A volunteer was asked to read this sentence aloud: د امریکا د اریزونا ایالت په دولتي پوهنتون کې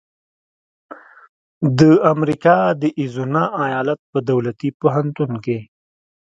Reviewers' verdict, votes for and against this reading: accepted, 2, 0